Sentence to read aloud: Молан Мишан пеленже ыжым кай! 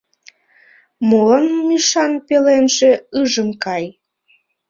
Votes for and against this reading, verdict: 0, 2, rejected